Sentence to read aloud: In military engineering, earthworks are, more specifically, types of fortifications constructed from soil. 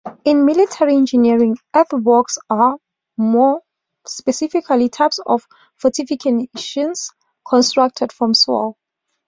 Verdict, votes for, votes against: accepted, 2, 0